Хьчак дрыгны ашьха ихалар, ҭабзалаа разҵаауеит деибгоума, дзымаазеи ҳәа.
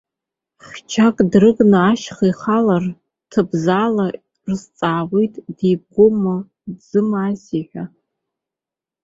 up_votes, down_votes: 1, 2